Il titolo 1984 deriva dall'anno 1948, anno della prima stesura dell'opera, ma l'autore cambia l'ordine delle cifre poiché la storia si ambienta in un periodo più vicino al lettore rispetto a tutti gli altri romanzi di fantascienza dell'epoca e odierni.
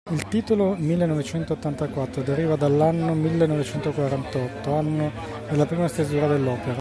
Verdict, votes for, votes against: rejected, 0, 2